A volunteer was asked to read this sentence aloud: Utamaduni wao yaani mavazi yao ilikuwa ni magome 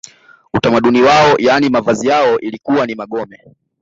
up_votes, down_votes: 1, 2